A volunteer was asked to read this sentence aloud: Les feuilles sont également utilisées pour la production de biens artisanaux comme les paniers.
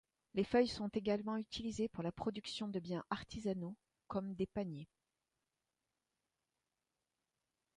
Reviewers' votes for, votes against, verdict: 0, 2, rejected